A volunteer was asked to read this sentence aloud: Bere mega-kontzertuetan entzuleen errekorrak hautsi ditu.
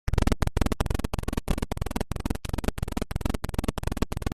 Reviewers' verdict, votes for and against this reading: rejected, 0, 2